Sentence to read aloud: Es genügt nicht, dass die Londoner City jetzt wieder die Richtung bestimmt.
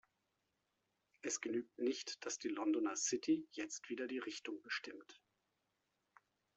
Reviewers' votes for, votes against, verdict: 2, 0, accepted